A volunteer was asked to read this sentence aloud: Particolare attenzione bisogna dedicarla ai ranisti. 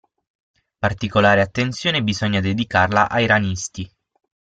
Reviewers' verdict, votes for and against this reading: accepted, 6, 0